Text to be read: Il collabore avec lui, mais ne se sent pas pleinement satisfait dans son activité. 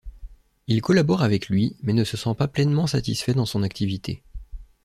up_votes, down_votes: 2, 0